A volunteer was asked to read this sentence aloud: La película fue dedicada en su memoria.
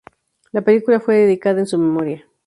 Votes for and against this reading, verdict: 0, 2, rejected